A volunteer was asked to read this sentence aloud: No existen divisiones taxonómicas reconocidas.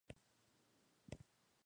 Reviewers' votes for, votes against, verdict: 0, 2, rejected